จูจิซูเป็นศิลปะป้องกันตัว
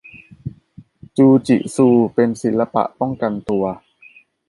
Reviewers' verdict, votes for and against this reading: accepted, 2, 0